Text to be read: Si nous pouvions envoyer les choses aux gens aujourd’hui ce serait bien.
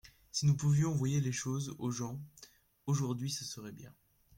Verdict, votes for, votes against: accepted, 2, 1